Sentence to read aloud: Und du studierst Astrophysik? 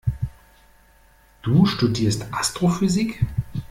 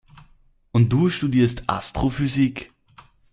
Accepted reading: second